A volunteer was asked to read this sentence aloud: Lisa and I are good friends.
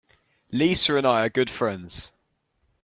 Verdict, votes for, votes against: accepted, 2, 0